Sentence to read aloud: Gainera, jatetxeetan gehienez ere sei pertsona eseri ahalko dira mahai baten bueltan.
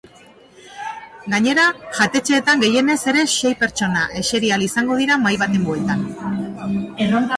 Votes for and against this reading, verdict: 0, 2, rejected